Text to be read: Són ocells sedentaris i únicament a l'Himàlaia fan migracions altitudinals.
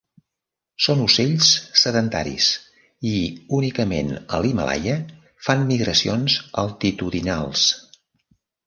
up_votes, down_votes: 1, 2